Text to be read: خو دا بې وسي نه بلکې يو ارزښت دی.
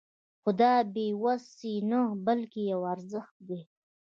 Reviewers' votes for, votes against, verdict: 0, 2, rejected